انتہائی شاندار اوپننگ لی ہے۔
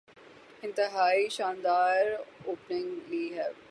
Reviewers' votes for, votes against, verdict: 12, 0, accepted